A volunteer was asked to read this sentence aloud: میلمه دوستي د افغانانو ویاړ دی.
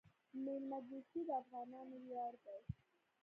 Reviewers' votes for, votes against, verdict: 2, 0, accepted